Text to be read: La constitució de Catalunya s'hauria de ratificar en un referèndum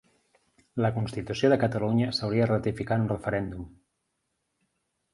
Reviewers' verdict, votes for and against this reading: rejected, 2, 3